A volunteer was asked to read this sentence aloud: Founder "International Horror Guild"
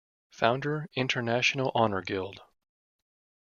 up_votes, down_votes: 2, 1